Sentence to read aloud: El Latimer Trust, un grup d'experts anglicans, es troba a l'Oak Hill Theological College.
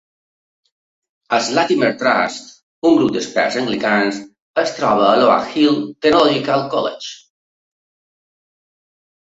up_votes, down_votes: 0, 2